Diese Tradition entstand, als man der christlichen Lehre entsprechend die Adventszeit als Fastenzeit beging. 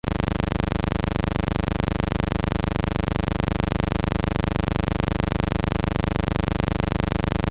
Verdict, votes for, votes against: rejected, 0, 2